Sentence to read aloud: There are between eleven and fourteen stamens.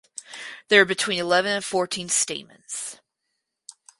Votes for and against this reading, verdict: 0, 2, rejected